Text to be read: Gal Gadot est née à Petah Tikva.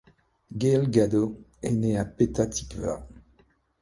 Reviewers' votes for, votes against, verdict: 1, 2, rejected